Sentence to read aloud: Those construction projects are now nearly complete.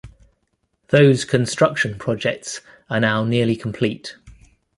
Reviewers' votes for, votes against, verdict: 2, 0, accepted